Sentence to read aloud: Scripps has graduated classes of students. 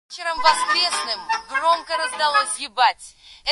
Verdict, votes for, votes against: rejected, 0, 2